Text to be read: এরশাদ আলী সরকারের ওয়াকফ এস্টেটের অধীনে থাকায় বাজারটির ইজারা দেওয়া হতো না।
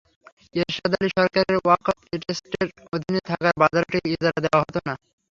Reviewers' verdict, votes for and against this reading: rejected, 0, 3